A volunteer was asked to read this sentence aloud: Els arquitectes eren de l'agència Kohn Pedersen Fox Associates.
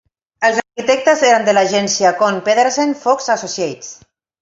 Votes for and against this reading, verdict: 0, 2, rejected